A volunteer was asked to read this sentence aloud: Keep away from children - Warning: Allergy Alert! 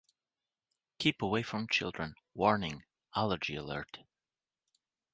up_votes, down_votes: 3, 0